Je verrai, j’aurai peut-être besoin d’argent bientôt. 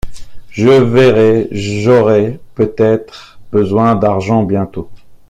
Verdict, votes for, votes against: accepted, 2, 0